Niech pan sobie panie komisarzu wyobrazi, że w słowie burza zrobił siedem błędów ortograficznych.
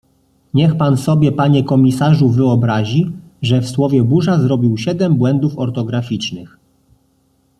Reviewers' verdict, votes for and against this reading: accepted, 2, 0